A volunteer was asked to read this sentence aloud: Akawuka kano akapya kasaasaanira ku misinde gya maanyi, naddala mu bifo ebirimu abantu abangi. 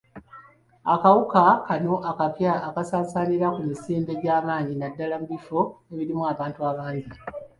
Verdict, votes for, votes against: accepted, 2, 1